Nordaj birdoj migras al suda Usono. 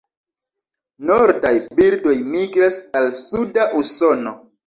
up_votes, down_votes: 2, 1